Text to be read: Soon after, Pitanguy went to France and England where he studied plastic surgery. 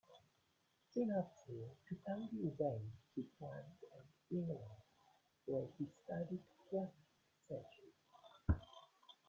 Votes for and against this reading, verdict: 0, 2, rejected